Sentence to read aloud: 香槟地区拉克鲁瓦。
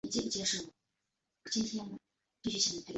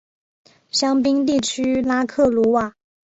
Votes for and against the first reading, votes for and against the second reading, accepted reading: 0, 3, 2, 0, second